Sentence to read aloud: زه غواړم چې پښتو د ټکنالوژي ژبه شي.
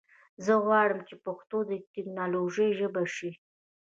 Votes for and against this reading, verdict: 0, 2, rejected